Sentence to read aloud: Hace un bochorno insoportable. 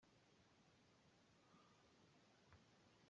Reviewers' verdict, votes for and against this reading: rejected, 0, 2